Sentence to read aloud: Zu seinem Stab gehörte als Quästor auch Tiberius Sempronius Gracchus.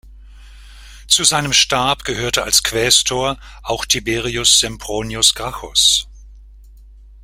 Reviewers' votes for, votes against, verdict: 2, 1, accepted